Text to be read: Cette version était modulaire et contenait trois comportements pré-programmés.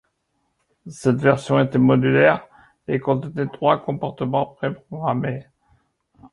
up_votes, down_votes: 1, 2